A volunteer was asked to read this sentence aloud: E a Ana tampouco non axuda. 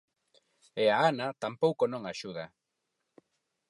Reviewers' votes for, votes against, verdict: 4, 0, accepted